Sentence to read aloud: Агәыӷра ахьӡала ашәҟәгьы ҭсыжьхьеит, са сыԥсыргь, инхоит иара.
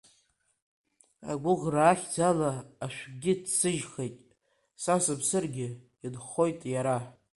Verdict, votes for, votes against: rejected, 2, 4